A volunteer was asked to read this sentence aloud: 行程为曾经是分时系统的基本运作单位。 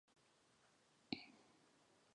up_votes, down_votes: 0, 2